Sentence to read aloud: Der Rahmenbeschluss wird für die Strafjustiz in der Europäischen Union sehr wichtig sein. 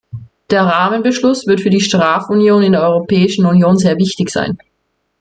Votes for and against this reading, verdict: 0, 2, rejected